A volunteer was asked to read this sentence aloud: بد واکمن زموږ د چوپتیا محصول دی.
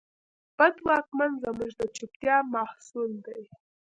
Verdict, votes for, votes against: accepted, 2, 0